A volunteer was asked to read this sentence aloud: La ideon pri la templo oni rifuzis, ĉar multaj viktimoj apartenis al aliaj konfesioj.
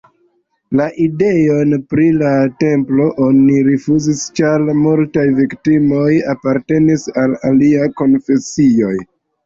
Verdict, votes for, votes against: accepted, 2, 0